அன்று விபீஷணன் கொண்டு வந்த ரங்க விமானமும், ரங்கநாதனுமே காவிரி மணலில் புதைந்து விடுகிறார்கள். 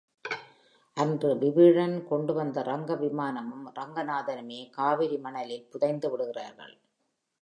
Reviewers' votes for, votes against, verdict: 1, 3, rejected